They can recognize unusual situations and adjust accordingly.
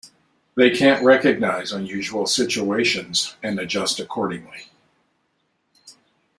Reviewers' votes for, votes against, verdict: 1, 2, rejected